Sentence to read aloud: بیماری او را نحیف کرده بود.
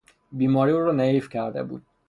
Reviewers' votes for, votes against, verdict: 6, 0, accepted